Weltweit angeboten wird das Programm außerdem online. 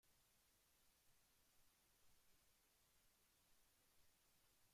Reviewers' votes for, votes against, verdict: 0, 2, rejected